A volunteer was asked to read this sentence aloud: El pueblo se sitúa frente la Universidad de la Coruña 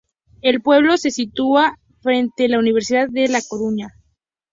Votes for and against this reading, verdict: 2, 0, accepted